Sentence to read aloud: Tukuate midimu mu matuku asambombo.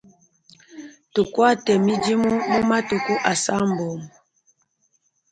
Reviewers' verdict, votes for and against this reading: accepted, 3, 0